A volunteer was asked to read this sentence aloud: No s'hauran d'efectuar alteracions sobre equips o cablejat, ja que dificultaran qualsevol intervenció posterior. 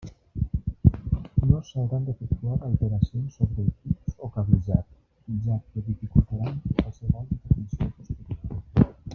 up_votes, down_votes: 0, 2